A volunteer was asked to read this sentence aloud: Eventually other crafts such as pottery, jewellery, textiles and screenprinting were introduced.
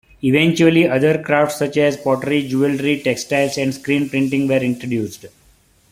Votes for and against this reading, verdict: 2, 0, accepted